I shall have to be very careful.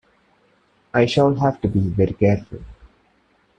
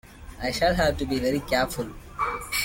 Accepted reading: first